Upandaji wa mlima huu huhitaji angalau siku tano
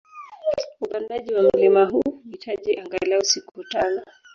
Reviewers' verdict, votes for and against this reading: rejected, 0, 2